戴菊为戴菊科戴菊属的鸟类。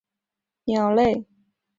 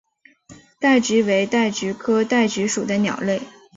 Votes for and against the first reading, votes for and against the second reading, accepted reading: 0, 2, 3, 0, second